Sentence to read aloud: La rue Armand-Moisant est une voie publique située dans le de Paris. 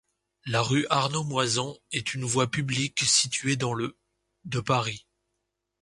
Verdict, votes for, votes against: rejected, 0, 2